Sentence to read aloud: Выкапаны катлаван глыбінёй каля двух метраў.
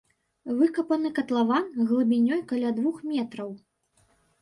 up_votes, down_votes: 3, 0